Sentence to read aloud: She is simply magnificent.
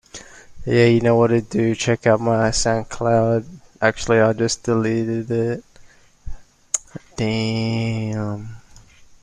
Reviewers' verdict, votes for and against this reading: rejected, 0, 2